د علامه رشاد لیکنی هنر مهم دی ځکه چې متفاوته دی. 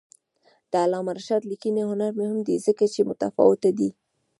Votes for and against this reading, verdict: 2, 1, accepted